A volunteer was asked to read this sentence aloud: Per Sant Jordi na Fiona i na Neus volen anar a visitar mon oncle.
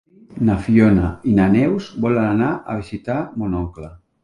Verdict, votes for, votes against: rejected, 0, 2